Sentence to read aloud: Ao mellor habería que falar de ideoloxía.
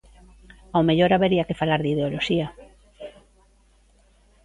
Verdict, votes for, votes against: accepted, 2, 0